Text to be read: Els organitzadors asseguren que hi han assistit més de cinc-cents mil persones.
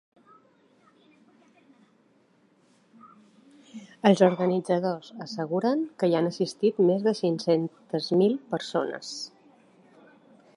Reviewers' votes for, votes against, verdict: 1, 2, rejected